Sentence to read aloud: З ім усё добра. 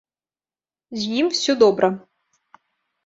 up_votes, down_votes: 1, 2